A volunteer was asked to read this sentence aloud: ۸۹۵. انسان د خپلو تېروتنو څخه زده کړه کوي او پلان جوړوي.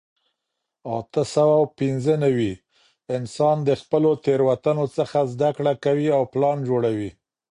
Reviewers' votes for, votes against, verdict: 0, 2, rejected